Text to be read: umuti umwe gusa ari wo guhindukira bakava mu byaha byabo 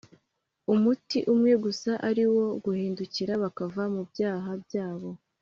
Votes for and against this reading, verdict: 2, 0, accepted